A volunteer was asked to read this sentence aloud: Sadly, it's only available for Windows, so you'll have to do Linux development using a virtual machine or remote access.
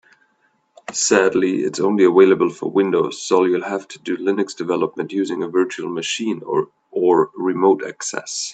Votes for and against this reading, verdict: 0, 2, rejected